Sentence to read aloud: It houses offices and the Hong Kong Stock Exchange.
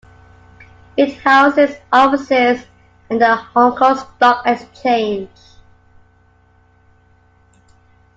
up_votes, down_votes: 2, 0